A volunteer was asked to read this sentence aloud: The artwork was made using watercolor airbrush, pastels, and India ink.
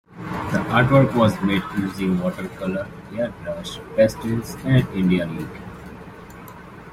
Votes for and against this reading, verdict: 2, 0, accepted